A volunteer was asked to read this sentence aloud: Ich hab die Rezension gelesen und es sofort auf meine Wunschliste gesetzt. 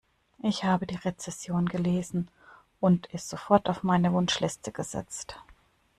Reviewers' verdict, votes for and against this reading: rejected, 0, 2